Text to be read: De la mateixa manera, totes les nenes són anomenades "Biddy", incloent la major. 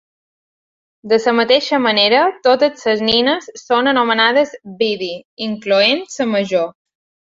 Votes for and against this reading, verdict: 1, 2, rejected